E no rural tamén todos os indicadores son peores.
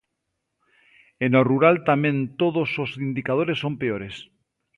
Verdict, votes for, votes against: accepted, 2, 0